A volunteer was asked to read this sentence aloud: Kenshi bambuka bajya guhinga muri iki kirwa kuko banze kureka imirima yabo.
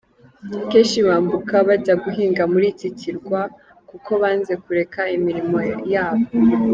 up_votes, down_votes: 1, 3